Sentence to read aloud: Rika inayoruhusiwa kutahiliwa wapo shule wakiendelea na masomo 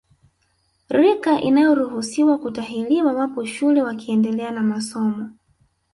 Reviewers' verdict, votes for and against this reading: rejected, 1, 2